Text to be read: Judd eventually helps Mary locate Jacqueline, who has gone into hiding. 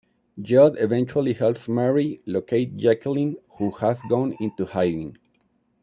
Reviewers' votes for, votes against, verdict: 2, 0, accepted